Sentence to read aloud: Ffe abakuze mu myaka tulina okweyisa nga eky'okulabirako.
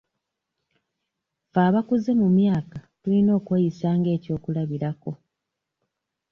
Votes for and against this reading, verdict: 1, 2, rejected